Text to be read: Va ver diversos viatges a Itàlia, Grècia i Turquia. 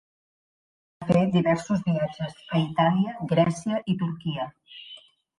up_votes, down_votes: 1, 2